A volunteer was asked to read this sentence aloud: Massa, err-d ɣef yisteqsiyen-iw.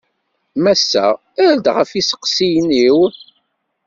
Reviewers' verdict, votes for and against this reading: accepted, 2, 0